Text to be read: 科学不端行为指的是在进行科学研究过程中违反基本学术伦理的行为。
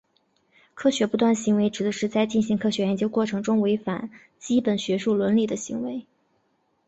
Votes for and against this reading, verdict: 2, 0, accepted